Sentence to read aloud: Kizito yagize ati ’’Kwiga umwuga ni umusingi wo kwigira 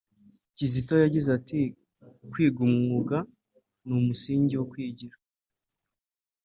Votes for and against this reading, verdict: 2, 0, accepted